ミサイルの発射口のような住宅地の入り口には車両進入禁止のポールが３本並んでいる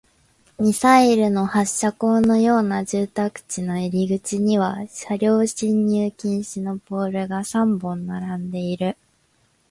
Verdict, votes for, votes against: rejected, 0, 2